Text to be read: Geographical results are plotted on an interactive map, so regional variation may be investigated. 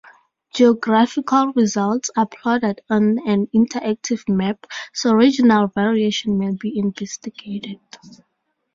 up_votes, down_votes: 4, 0